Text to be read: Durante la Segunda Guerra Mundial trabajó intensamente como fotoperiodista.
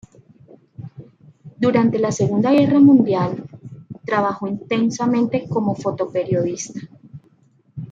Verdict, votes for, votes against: accepted, 2, 0